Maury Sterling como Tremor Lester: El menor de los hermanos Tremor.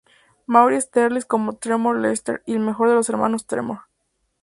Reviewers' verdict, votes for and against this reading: rejected, 0, 2